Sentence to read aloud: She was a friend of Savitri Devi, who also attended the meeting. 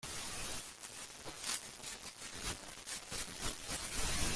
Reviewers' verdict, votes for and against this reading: rejected, 0, 2